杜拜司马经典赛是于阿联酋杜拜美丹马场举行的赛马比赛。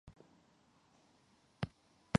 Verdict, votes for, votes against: rejected, 1, 3